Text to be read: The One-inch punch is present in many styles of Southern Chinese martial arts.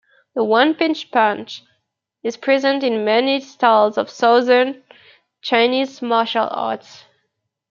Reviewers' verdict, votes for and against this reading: accepted, 2, 1